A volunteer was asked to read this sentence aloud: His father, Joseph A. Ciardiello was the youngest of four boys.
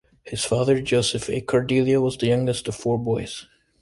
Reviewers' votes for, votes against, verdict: 2, 0, accepted